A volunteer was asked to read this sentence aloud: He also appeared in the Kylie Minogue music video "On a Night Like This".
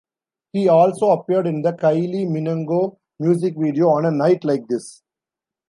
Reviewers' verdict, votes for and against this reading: rejected, 0, 2